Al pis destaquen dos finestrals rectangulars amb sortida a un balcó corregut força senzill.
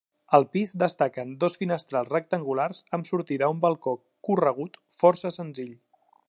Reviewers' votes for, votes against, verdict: 2, 0, accepted